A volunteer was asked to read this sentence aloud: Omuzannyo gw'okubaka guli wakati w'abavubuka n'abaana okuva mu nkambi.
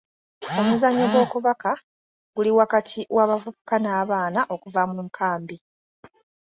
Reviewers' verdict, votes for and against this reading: accepted, 2, 0